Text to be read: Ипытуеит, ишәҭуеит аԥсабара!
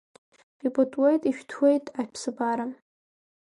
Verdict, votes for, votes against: accepted, 2, 0